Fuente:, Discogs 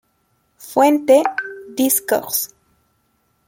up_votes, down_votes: 2, 1